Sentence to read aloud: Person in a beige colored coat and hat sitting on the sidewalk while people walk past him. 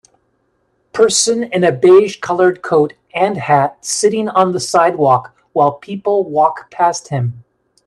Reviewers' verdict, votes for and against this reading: accepted, 2, 0